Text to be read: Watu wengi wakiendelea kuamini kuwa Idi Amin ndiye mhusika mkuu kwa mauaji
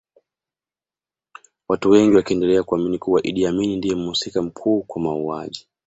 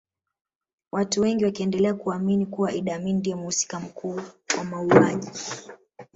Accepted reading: first